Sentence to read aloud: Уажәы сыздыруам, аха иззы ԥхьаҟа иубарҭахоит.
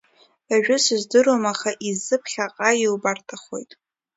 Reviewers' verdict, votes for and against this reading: accepted, 2, 0